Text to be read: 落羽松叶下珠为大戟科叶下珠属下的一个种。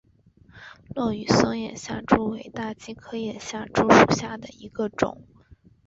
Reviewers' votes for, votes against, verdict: 1, 2, rejected